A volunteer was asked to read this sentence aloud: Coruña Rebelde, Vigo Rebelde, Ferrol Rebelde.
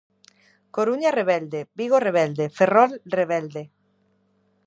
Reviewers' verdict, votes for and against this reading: accepted, 2, 0